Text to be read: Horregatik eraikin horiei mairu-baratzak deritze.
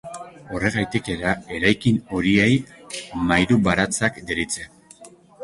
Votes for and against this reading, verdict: 2, 3, rejected